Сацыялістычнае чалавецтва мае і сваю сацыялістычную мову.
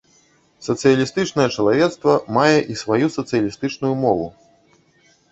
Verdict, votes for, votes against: rejected, 0, 2